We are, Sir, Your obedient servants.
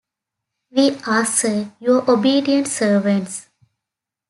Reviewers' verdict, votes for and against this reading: accepted, 2, 0